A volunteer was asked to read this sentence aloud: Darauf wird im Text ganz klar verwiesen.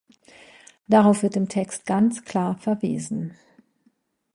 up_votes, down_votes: 2, 0